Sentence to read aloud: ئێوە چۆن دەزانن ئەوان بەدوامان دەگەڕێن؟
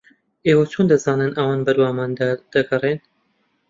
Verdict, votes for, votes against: rejected, 0, 2